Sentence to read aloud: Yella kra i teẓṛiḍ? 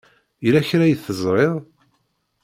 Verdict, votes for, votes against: accepted, 2, 0